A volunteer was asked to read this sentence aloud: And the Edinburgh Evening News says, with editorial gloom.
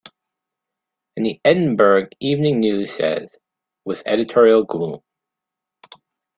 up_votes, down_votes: 0, 2